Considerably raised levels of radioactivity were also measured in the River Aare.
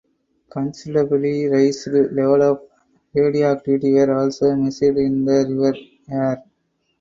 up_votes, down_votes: 0, 4